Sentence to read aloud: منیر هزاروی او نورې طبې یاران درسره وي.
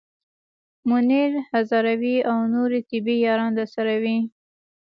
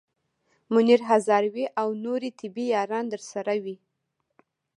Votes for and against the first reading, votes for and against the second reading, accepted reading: 2, 0, 1, 2, first